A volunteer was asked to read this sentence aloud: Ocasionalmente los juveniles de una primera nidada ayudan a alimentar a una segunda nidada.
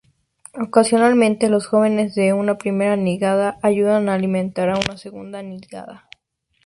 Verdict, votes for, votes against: rejected, 0, 2